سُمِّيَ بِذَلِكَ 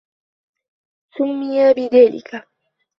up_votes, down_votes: 2, 0